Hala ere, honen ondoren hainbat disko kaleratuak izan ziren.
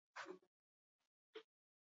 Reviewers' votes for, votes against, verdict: 2, 0, accepted